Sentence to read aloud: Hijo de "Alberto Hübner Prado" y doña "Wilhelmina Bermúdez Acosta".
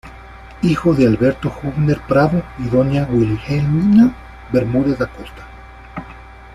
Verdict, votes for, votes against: accepted, 2, 1